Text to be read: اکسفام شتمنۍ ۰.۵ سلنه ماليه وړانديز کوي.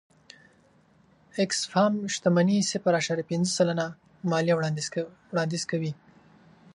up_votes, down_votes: 0, 2